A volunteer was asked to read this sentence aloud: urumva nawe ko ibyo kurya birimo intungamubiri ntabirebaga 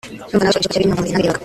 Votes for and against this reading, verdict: 0, 2, rejected